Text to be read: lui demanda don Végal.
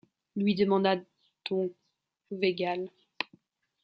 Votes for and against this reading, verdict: 1, 2, rejected